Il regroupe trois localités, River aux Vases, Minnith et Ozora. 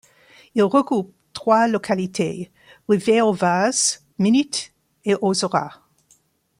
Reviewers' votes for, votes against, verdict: 2, 0, accepted